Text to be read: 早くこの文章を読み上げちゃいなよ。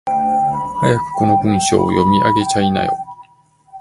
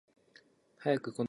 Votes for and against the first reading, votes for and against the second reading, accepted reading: 2, 1, 0, 2, first